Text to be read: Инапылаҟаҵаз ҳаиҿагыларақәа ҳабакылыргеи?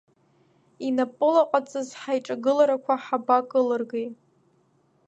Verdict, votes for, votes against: rejected, 1, 2